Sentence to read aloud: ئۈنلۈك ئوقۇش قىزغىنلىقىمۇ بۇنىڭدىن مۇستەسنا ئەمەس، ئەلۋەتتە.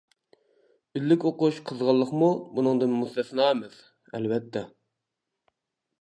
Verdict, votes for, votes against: rejected, 1, 2